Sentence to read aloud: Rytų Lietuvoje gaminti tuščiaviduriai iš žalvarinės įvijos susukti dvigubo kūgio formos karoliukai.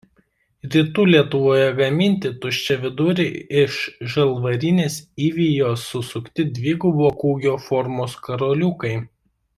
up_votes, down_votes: 1, 2